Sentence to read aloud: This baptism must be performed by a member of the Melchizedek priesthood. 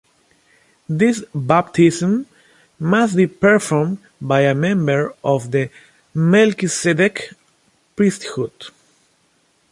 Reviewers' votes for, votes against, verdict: 1, 2, rejected